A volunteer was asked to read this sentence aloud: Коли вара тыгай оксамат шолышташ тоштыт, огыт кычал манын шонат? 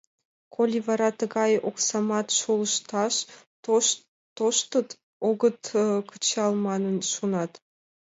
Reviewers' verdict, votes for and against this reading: rejected, 1, 2